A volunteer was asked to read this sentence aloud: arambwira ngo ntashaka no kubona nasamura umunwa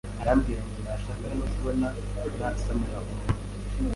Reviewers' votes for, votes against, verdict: 2, 0, accepted